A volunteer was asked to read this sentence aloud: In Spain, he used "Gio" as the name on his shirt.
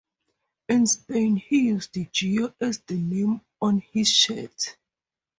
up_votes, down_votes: 2, 0